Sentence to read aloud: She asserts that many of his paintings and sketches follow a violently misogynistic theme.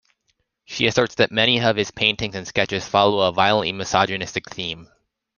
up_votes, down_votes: 2, 0